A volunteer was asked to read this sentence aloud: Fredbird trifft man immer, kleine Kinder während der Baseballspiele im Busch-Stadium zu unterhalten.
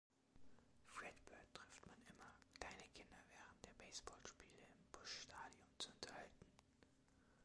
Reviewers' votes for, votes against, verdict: 0, 2, rejected